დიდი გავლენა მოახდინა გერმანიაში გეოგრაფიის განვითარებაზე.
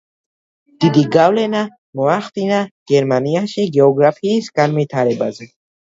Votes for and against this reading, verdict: 2, 0, accepted